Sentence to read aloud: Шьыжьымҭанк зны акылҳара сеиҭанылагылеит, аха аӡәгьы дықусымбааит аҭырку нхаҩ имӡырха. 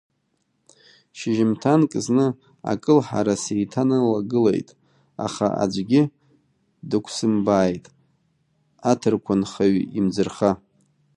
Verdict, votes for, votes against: rejected, 1, 2